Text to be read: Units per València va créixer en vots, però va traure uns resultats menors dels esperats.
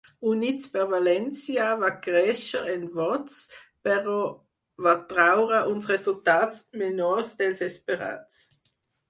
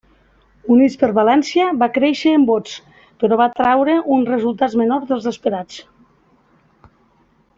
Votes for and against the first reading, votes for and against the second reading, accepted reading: 2, 2, 2, 0, second